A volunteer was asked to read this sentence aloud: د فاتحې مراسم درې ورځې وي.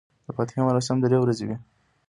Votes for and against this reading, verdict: 0, 2, rejected